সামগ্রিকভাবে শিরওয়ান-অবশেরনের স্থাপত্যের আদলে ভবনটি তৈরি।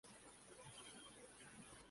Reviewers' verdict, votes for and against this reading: rejected, 0, 2